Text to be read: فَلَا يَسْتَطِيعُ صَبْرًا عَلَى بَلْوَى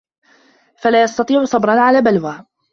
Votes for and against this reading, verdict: 2, 1, accepted